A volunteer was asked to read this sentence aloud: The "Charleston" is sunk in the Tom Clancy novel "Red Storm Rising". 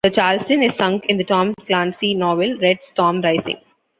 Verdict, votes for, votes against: rejected, 1, 2